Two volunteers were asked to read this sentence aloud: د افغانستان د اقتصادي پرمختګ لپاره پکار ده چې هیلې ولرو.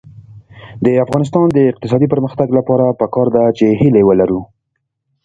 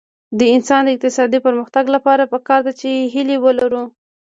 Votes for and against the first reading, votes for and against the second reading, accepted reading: 1, 2, 2, 0, second